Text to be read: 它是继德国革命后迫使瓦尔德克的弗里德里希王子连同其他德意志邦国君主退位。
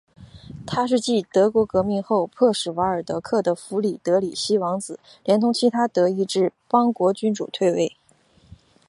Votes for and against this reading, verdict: 2, 0, accepted